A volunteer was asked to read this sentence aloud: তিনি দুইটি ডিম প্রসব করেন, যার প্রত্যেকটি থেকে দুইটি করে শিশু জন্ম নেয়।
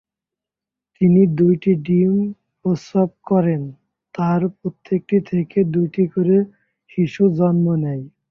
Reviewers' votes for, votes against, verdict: 0, 3, rejected